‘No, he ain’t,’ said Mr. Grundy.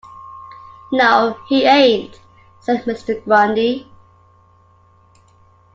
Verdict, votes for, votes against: accepted, 2, 1